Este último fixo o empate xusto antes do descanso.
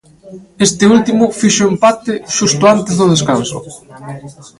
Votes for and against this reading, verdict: 0, 2, rejected